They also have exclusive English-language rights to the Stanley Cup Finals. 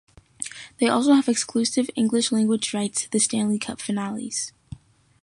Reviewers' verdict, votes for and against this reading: rejected, 0, 2